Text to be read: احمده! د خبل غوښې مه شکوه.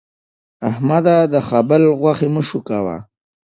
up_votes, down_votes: 2, 0